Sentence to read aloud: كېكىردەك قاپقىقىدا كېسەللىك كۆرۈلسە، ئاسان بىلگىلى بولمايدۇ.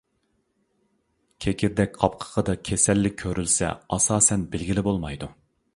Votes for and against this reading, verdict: 1, 2, rejected